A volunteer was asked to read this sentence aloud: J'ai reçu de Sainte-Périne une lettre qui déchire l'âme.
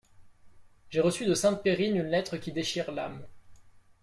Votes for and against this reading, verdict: 2, 0, accepted